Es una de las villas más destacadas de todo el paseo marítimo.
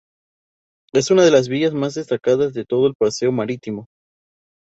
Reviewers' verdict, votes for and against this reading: rejected, 0, 2